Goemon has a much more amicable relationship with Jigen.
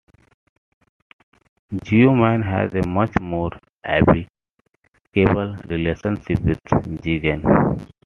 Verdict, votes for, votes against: rejected, 1, 2